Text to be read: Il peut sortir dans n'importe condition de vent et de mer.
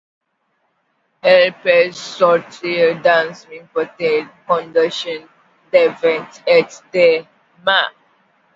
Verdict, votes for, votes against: rejected, 0, 2